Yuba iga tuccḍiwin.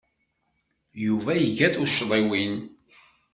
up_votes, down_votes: 2, 0